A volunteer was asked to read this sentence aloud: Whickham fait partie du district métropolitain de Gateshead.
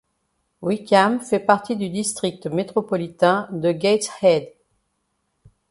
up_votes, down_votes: 2, 0